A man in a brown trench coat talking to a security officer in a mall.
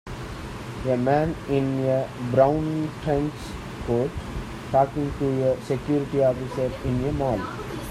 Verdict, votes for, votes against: accepted, 2, 0